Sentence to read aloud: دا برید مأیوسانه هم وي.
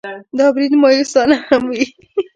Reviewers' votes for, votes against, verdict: 0, 2, rejected